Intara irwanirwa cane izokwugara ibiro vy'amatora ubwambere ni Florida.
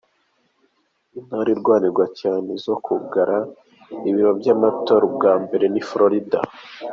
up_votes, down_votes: 2, 0